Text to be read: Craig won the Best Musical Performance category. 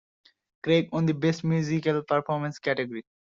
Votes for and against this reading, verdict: 2, 0, accepted